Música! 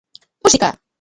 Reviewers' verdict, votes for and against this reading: accepted, 3, 0